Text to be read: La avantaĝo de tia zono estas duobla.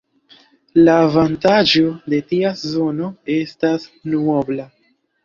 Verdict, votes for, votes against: rejected, 1, 2